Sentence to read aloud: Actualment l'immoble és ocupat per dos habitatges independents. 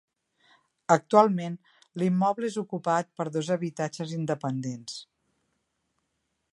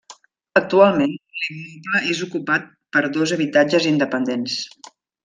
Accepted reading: first